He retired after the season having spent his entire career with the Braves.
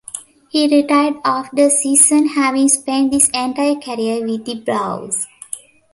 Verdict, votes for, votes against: rejected, 0, 2